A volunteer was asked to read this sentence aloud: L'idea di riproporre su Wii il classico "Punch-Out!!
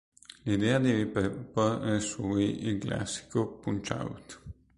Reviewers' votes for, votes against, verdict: 0, 2, rejected